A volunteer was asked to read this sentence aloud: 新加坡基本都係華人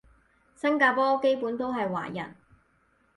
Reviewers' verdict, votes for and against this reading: accepted, 4, 0